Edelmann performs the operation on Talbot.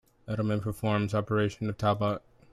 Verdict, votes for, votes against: accepted, 2, 0